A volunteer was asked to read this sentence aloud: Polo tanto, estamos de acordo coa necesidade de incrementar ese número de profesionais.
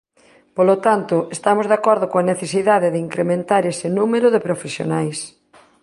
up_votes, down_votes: 2, 0